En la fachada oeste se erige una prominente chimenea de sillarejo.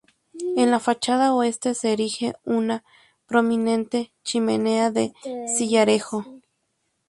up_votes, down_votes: 2, 0